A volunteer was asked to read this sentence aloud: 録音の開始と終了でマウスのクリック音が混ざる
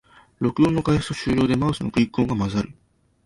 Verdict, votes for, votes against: accepted, 7, 1